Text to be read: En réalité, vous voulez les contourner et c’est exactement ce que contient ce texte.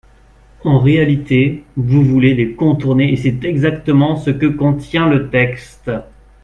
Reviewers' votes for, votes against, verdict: 1, 2, rejected